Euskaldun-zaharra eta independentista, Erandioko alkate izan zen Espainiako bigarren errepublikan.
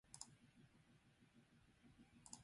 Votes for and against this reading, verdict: 0, 4, rejected